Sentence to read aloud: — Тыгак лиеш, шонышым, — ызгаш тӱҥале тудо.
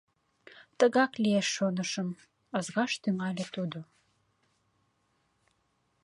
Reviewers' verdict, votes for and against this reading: accepted, 2, 0